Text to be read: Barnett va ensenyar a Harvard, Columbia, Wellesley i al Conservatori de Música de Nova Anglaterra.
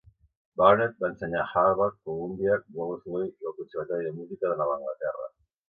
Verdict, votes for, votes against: rejected, 1, 2